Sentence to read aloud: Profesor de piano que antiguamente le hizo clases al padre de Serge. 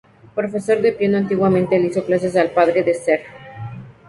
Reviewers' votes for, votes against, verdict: 2, 0, accepted